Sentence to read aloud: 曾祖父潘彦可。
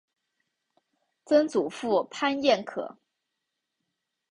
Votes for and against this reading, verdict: 2, 0, accepted